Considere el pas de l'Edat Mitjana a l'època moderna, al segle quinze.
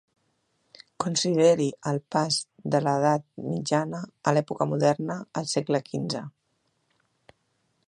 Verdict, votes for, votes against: rejected, 0, 2